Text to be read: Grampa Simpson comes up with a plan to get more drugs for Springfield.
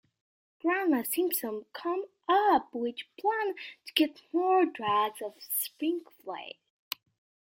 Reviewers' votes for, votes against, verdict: 0, 2, rejected